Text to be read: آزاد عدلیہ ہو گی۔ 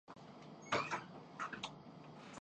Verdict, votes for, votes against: rejected, 0, 4